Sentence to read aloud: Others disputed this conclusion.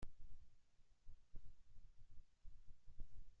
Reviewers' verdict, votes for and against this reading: rejected, 0, 2